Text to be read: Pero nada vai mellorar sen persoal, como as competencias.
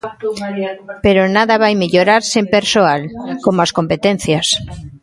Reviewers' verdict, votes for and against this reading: rejected, 1, 2